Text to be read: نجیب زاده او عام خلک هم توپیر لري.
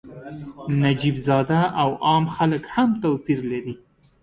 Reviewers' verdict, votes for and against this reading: accepted, 2, 0